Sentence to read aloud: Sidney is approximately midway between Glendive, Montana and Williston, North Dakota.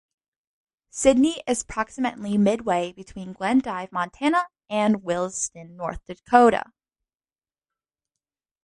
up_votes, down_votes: 2, 0